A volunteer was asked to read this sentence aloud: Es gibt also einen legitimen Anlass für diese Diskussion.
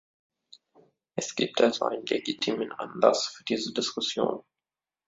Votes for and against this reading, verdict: 1, 2, rejected